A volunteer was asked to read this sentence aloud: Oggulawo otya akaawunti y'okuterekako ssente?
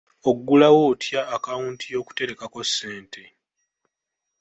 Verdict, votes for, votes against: rejected, 1, 2